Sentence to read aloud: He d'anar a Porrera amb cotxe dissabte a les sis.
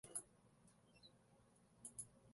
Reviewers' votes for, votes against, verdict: 0, 2, rejected